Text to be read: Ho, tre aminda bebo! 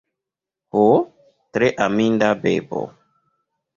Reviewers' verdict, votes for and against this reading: accepted, 2, 1